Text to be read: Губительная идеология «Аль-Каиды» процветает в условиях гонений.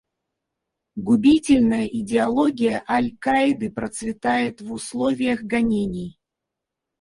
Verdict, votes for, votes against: rejected, 2, 2